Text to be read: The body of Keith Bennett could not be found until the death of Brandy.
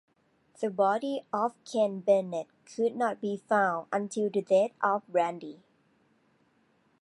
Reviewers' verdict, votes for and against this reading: accepted, 2, 1